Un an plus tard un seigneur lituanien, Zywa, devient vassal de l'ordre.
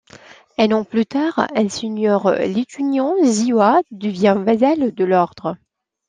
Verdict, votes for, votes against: rejected, 1, 2